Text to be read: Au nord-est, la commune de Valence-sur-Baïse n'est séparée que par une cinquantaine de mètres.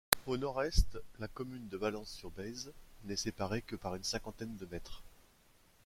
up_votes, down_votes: 0, 2